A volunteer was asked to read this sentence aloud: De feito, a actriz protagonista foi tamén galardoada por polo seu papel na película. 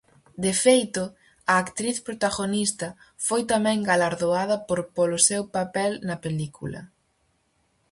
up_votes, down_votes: 2, 0